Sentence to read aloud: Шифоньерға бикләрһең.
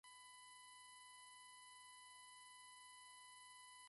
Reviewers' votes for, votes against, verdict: 1, 2, rejected